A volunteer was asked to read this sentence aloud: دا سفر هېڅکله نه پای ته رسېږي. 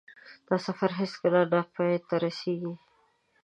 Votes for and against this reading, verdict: 2, 0, accepted